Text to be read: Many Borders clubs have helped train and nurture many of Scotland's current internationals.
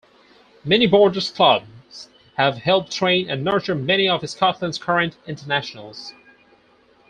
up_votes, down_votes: 4, 0